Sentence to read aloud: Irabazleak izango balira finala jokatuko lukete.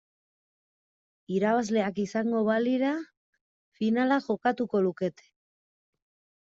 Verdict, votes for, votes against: accepted, 2, 1